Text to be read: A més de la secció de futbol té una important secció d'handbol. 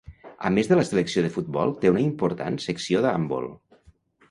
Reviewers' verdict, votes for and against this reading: rejected, 0, 2